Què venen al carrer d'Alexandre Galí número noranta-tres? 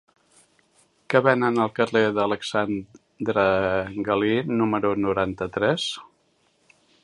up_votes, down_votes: 0, 2